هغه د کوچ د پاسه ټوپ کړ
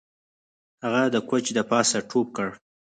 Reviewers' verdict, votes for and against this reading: rejected, 2, 4